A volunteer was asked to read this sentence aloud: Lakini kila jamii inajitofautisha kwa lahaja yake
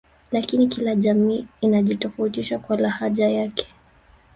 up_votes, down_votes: 0, 2